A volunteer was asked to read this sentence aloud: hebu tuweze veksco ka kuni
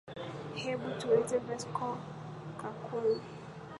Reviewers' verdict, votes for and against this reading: rejected, 5, 6